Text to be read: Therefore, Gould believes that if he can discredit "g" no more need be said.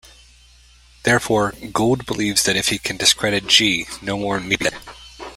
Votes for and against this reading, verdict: 0, 2, rejected